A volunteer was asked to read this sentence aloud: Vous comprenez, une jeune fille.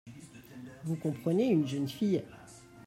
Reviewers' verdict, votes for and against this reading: rejected, 1, 2